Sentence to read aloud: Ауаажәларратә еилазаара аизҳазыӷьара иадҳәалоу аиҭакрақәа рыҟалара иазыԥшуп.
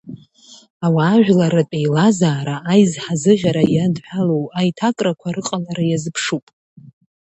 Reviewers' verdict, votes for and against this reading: accepted, 2, 0